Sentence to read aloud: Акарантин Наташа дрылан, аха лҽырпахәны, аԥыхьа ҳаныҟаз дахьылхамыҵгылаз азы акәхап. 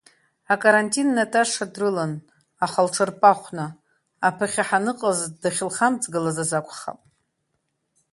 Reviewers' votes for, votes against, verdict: 2, 0, accepted